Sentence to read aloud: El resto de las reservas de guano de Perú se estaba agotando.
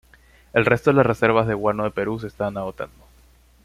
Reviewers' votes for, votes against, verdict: 1, 2, rejected